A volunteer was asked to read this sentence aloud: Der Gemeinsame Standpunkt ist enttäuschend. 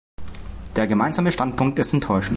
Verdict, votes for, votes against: rejected, 0, 2